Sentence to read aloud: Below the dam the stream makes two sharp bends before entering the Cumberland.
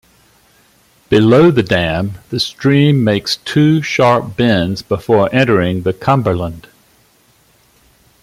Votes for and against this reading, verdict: 2, 0, accepted